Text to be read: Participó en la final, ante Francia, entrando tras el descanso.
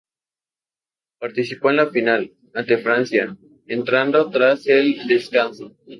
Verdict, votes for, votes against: rejected, 0, 2